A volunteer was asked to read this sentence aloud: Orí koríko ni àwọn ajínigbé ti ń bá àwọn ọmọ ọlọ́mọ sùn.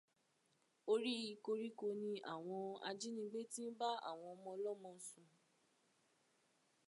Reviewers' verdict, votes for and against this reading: accepted, 2, 0